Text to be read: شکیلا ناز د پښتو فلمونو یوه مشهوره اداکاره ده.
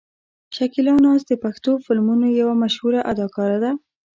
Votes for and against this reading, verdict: 2, 0, accepted